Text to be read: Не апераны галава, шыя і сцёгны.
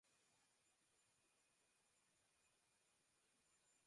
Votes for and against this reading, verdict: 0, 2, rejected